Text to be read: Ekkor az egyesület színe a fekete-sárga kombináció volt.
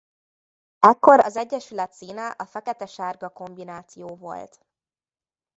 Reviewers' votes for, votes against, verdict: 0, 2, rejected